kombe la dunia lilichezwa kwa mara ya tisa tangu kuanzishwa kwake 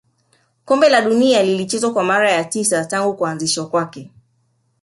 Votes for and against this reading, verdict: 2, 1, accepted